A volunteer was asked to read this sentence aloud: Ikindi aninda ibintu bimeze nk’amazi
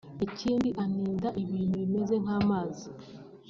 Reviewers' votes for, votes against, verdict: 2, 0, accepted